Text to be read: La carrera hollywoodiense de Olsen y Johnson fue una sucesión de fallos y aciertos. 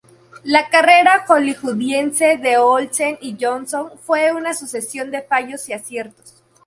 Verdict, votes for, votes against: rejected, 0, 2